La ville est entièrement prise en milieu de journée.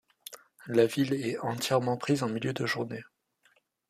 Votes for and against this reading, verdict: 2, 0, accepted